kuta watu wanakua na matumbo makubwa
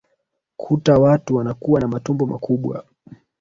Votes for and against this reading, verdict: 1, 2, rejected